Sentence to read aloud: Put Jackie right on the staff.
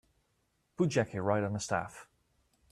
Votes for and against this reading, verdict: 2, 0, accepted